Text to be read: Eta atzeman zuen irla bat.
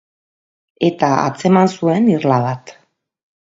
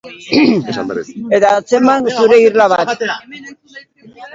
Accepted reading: first